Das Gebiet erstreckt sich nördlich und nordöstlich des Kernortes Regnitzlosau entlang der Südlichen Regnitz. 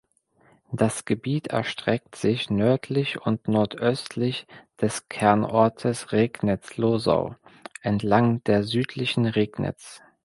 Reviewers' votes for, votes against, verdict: 2, 0, accepted